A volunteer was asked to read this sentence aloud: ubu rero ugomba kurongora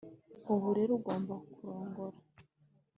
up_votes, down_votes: 3, 0